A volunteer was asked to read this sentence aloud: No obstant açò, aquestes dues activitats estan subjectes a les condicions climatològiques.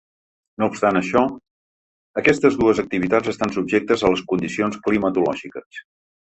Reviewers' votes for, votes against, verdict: 0, 2, rejected